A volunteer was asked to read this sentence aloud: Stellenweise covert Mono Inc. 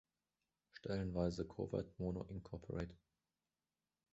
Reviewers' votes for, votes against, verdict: 1, 2, rejected